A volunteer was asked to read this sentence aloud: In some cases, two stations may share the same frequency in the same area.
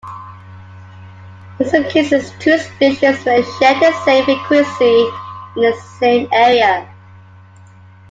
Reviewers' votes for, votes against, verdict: 1, 2, rejected